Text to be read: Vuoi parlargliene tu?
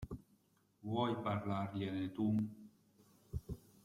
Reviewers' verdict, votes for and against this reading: accepted, 2, 0